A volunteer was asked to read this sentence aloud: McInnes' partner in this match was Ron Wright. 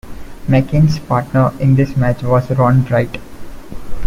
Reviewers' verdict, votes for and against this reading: accepted, 2, 0